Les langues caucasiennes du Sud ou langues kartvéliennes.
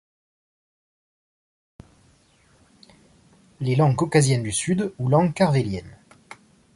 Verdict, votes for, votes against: accepted, 2, 1